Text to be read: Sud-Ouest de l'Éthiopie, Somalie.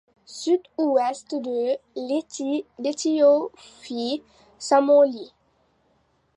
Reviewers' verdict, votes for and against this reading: rejected, 0, 2